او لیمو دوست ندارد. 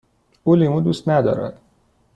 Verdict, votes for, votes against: accepted, 2, 0